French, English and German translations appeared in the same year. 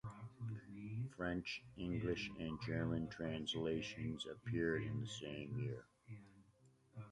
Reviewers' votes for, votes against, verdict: 2, 0, accepted